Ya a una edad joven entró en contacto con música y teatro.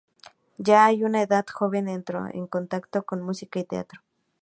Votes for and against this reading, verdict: 2, 0, accepted